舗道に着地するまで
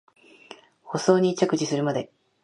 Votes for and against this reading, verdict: 0, 2, rejected